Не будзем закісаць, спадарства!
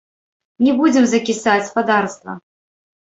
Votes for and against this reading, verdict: 2, 3, rejected